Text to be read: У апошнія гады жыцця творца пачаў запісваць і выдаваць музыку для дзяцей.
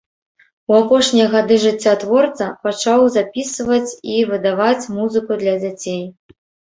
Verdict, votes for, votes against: rejected, 1, 2